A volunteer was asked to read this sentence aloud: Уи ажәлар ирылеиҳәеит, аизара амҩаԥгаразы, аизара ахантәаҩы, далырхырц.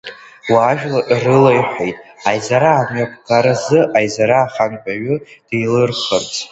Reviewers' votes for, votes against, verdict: 0, 2, rejected